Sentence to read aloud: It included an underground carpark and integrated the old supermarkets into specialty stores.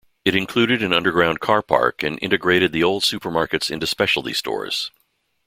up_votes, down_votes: 2, 0